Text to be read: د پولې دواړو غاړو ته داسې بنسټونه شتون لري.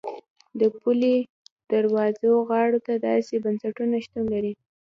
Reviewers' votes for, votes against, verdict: 2, 1, accepted